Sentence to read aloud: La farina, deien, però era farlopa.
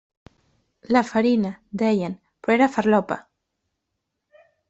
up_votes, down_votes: 3, 1